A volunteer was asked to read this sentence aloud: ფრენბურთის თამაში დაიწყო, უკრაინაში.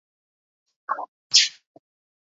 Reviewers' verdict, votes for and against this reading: rejected, 1, 2